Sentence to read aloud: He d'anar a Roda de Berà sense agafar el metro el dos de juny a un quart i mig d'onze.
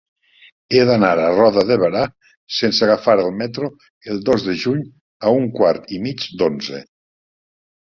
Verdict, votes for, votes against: rejected, 1, 2